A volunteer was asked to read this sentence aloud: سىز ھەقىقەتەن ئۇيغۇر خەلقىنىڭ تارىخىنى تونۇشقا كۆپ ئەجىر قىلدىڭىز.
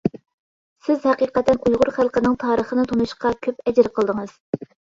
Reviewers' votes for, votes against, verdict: 2, 0, accepted